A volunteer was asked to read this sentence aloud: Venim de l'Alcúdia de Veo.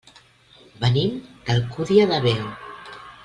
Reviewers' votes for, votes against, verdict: 0, 2, rejected